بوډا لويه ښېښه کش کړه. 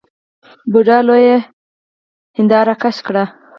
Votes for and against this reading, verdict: 0, 4, rejected